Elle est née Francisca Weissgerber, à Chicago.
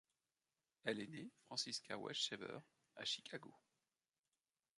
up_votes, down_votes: 1, 2